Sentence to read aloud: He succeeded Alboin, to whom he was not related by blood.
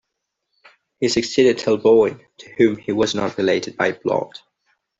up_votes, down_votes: 3, 2